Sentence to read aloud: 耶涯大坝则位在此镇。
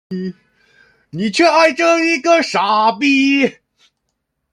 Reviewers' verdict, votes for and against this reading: rejected, 0, 2